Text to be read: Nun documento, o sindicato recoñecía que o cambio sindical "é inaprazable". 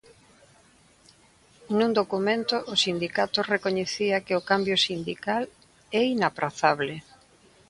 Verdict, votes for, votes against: accepted, 2, 0